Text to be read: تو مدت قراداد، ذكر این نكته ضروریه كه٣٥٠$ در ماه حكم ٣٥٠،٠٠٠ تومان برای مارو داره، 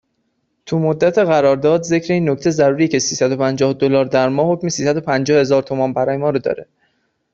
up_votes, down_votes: 0, 2